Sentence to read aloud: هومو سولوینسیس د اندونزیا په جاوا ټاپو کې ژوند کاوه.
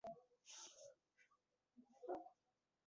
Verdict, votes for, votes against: rejected, 1, 2